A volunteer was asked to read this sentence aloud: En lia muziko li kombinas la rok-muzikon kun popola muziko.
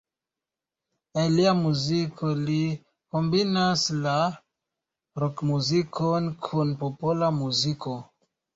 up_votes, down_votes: 2, 1